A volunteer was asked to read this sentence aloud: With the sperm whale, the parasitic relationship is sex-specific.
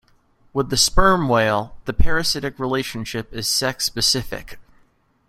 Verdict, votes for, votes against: accepted, 2, 0